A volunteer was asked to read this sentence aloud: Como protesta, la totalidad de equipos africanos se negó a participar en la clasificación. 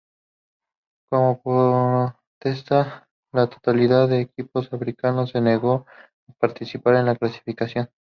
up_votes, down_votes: 2, 2